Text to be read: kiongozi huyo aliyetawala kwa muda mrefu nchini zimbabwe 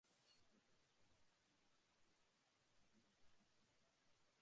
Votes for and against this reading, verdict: 0, 2, rejected